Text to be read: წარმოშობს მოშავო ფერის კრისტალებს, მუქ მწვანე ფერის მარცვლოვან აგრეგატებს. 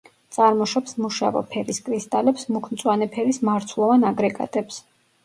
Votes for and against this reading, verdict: 1, 2, rejected